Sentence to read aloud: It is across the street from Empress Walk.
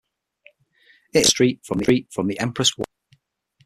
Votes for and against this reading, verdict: 0, 6, rejected